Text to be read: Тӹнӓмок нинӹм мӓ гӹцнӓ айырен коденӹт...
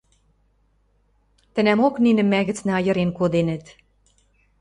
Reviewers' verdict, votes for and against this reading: accepted, 2, 0